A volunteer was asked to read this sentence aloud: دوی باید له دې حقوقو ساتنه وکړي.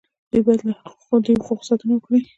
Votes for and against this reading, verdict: 2, 0, accepted